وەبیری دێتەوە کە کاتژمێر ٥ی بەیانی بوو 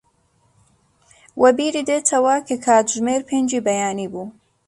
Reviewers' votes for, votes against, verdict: 0, 2, rejected